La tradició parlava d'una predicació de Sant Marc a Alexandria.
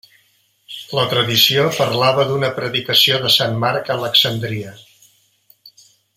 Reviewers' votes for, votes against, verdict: 2, 0, accepted